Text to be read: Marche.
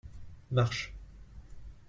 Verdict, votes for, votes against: accepted, 2, 0